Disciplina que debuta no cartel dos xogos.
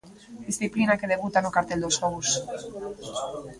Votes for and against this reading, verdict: 2, 0, accepted